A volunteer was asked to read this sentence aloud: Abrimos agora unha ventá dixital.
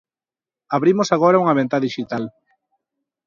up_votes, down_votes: 2, 0